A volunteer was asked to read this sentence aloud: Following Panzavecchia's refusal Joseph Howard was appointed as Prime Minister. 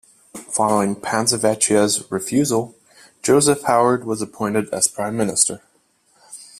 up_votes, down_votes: 2, 0